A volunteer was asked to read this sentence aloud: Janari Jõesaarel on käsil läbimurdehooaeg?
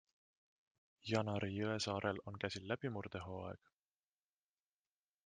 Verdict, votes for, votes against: rejected, 1, 2